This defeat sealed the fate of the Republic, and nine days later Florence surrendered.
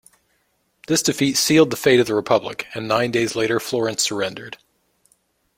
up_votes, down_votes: 2, 0